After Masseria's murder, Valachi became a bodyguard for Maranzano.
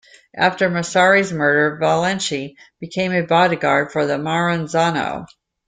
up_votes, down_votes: 1, 2